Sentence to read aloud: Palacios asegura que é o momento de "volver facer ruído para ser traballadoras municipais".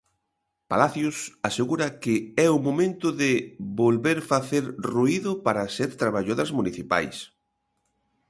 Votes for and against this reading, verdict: 1, 2, rejected